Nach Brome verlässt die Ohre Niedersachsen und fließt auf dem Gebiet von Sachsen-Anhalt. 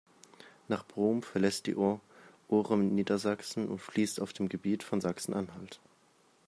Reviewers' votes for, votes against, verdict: 0, 2, rejected